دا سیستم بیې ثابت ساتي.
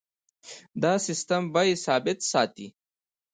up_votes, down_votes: 2, 1